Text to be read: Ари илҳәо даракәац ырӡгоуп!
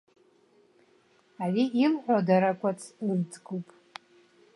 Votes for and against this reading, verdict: 2, 1, accepted